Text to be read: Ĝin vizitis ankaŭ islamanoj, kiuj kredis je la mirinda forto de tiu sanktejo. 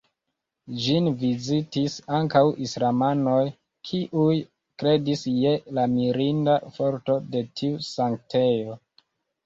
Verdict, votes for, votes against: rejected, 1, 2